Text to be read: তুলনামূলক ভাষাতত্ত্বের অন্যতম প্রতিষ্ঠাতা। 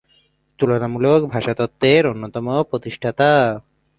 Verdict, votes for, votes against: rejected, 1, 2